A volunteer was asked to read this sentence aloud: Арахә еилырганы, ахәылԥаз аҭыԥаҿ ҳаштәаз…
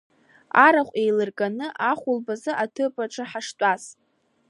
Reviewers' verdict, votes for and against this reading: rejected, 1, 2